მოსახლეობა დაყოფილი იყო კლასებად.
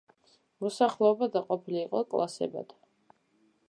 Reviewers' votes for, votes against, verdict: 1, 2, rejected